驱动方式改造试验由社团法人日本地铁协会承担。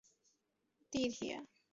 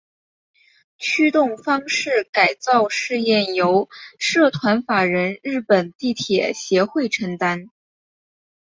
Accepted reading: second